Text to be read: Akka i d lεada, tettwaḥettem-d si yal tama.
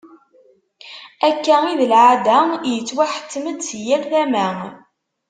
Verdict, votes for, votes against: rejected, 0, 2